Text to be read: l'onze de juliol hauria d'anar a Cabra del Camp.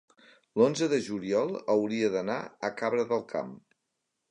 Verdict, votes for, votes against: accepted, 3, 0